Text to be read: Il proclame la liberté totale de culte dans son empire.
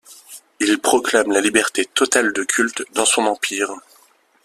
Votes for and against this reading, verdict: 2, 0, accepted